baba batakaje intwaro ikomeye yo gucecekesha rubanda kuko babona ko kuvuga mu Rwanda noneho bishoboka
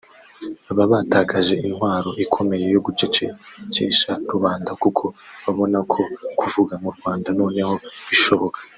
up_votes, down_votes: 0, 2